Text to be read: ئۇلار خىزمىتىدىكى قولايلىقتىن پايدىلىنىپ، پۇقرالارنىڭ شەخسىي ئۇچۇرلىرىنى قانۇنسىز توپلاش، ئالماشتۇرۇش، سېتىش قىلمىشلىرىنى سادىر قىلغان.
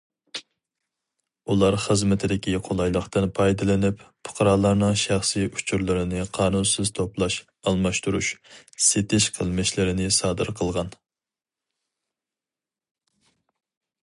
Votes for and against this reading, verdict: 4, 0, accepted